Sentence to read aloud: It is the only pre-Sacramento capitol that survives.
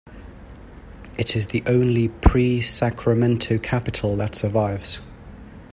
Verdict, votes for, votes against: accepted, 2, 0